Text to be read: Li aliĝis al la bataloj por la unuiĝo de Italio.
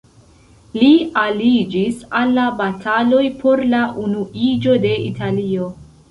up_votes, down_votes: 2, 0